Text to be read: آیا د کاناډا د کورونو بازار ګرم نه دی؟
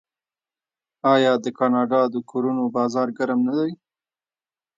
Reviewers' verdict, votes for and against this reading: rejected, 1, 2